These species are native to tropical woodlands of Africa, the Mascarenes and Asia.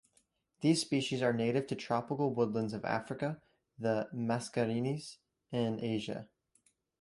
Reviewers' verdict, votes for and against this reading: accepted, 3, 1